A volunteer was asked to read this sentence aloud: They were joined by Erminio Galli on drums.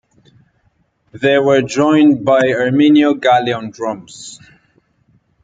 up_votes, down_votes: 2, 0